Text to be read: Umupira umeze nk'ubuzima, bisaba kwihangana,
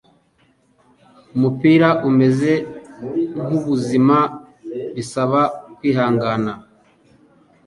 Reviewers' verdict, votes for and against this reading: accepted, 4, 0